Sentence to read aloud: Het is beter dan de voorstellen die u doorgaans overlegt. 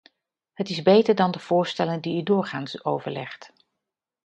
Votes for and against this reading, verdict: 2, 0, accepted